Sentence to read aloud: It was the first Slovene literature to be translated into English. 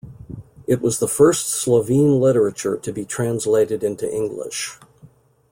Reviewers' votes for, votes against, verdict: 3, 0, accepted